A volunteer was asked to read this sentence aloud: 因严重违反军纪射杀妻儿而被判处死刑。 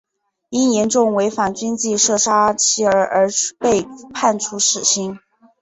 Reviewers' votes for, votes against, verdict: 4, 2, accepted